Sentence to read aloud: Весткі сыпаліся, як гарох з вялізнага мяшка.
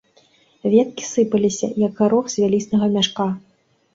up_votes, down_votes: 1, 2